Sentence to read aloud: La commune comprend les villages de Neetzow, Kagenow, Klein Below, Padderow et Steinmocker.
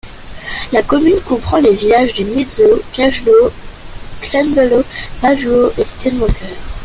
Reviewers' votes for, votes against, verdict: 2, 0, accepted